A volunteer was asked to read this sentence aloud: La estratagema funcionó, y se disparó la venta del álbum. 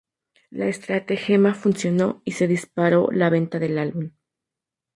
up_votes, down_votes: 2, 2